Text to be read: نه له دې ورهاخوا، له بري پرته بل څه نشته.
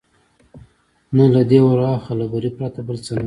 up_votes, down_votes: 2, 0